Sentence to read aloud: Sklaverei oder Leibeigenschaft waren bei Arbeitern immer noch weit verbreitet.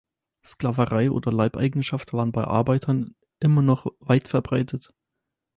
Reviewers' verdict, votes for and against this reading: accepted, 4, 0